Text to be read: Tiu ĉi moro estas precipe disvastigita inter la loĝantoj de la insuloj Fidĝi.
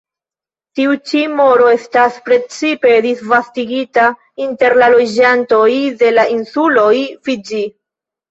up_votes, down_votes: 2, 1